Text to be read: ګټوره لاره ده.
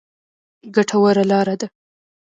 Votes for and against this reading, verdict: 2, 1, accepted